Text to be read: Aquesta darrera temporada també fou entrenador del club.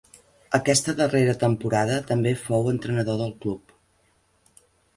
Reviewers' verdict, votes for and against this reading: accepted, 3, 0